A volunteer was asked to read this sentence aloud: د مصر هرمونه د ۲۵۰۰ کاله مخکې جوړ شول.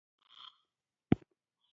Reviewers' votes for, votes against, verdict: 0, 2, rejected